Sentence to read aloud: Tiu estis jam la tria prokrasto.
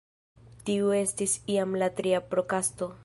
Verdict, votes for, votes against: rejected, 1, 2